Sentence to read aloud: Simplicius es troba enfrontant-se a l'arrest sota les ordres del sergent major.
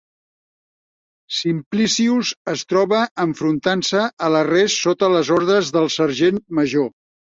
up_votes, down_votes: 2, 0